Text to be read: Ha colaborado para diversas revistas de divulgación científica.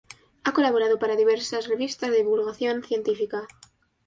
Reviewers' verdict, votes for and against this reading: accepted, 3, 1